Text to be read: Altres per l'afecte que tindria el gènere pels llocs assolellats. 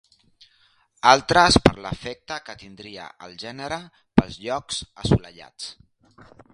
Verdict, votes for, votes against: accepted, 3, 1